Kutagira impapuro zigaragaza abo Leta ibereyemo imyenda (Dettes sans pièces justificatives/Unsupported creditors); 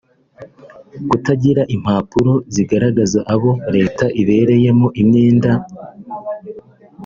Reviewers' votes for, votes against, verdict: 0, 2, rejected